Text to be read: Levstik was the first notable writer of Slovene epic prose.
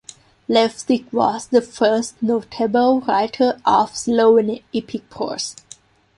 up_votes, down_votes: 1, 2